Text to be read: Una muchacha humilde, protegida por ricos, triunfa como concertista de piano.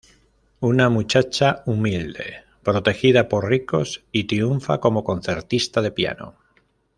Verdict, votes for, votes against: rejected, 1, 2